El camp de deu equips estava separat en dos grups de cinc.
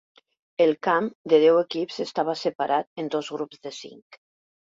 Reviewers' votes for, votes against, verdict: 4, 0, accepted